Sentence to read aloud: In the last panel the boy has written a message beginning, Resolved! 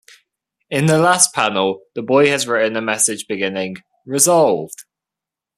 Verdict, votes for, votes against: rejected, 1, 2